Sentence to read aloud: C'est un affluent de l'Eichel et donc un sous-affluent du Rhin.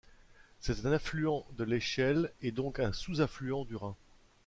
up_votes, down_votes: 2, 1